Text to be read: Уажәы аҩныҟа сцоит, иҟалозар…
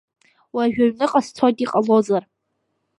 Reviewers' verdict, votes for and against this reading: accepted, 2, 0